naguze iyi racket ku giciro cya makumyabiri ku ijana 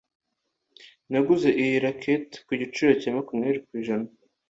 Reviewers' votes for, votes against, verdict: 2, 0, accepted